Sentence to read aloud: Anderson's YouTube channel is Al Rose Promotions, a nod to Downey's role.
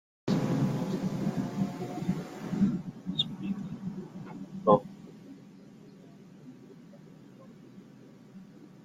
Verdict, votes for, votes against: rejected, 0, 2